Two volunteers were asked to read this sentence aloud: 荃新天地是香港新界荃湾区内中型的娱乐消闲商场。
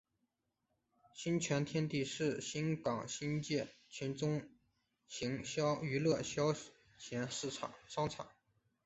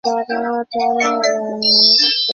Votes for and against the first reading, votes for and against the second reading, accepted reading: 1, 5, 3, 2, second